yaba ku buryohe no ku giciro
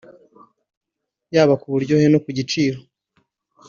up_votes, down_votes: 2, 0